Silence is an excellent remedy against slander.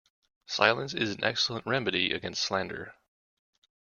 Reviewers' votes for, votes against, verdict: 1, 2, rejected